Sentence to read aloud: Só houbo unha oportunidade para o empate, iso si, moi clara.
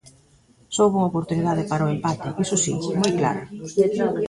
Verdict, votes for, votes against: rejected, 1, 2